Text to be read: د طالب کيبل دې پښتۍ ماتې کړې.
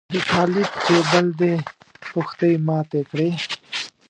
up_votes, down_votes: 0, 2